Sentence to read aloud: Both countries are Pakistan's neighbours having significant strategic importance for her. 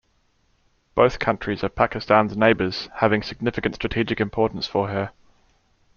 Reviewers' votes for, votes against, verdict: 2, 1, accepted